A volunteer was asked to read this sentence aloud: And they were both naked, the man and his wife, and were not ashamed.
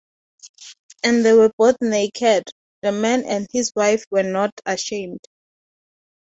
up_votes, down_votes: 2, 0